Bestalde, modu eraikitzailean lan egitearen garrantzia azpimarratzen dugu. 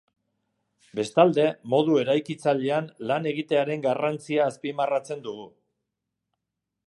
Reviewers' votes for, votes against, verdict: 2, 0, accepted